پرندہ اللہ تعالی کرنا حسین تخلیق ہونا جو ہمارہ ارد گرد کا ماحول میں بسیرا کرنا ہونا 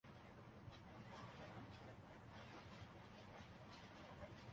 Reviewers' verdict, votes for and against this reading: rejected, 1, 2